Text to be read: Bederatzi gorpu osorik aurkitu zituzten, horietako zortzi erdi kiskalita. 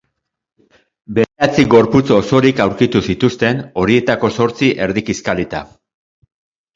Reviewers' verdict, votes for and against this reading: rejected, 0, 3